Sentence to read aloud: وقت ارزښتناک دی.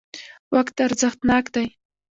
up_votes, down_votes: 1, 2